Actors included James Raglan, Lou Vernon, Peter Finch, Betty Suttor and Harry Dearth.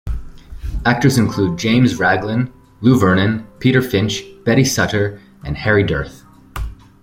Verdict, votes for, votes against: accepted, 2, 0